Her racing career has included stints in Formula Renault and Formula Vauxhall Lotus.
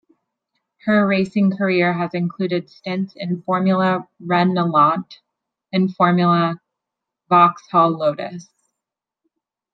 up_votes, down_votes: 0, 2